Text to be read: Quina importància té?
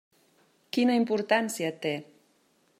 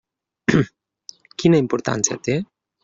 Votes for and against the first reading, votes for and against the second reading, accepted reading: 3, 0, 0, 2, first